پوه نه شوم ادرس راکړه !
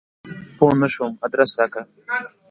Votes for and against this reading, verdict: 2, 0, accepted